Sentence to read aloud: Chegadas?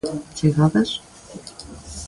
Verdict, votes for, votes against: accepted, 2, 0